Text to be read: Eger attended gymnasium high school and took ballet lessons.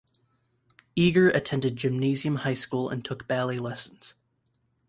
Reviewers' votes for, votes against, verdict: 2, 0, accepted